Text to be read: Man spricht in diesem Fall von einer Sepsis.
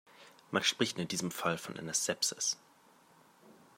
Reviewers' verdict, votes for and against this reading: accepted, 2, 0